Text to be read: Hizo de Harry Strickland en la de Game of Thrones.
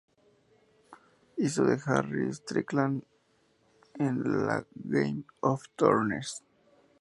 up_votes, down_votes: 0, 2